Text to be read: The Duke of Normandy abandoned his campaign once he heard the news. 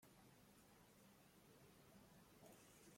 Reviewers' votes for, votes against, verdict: 0, 2, rejected